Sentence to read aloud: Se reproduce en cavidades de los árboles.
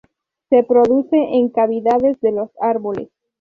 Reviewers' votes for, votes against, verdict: 6, 0, accepted